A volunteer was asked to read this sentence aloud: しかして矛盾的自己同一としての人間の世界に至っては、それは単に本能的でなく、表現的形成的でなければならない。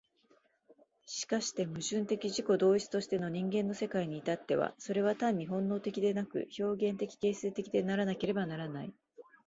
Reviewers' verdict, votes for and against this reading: rejected, 1, 2